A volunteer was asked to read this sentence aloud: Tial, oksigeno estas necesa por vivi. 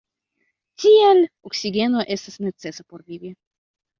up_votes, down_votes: 0, 2